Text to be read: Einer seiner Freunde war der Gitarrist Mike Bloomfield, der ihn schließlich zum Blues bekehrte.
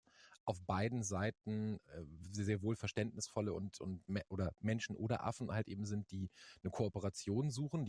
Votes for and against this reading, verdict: 0, 2, rejected